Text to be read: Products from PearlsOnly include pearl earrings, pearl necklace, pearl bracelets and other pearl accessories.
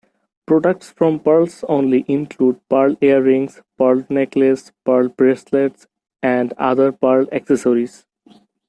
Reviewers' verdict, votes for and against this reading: accepted, 2, 0